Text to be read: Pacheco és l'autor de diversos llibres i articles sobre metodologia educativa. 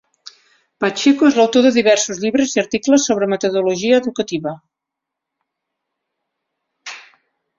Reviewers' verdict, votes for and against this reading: accepted, 7, 0